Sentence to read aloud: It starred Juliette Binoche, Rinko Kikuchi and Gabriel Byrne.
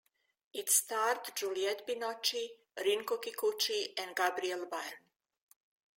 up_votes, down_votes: 2, 1